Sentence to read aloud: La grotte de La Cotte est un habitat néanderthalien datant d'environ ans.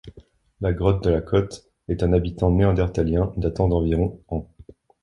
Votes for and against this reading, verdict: 1, 2, rejected